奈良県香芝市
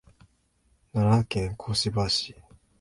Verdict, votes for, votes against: accepted, 2, 0